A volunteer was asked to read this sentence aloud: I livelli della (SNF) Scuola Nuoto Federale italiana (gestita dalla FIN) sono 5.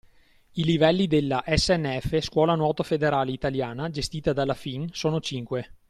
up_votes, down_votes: 0, 2